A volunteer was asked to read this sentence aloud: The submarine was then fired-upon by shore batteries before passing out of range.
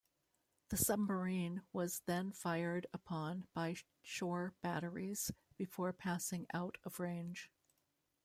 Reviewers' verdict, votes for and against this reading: rejected, 1, 2